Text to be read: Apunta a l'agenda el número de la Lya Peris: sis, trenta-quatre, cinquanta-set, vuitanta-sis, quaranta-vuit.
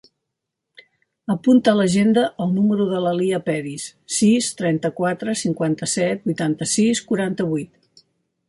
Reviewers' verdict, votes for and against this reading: accepted, 2, 0